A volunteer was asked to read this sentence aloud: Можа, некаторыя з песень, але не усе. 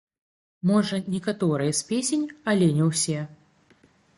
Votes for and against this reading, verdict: 0, 2, rejected